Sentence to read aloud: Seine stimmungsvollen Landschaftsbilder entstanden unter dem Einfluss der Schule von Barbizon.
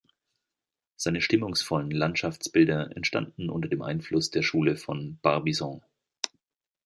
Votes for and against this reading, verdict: 2, 0, accepted